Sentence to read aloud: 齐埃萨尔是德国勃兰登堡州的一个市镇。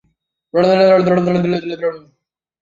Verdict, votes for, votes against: rejected, 1, 2